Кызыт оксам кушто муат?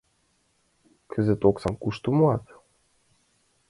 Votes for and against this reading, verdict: 2, 0, accepted